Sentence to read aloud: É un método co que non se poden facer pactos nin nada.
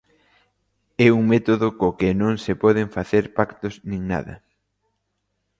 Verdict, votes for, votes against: accepted, 2, 0